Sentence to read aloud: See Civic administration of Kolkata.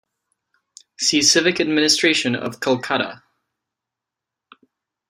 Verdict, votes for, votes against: accepted, 2, 0